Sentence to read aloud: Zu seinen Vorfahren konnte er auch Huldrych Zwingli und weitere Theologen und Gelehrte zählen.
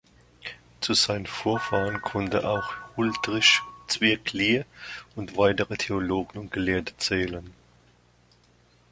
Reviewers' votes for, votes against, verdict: 1, 2, rejected